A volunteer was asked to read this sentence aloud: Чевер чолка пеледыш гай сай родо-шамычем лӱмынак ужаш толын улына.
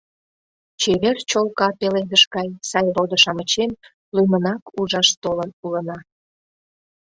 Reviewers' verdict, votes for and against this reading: accepted, 2, 0